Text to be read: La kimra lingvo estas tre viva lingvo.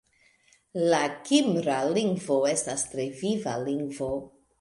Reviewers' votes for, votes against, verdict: 2, 0, accepted